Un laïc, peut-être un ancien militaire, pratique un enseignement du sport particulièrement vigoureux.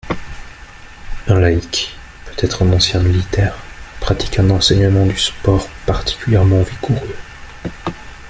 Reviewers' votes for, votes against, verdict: 2, 0, accepted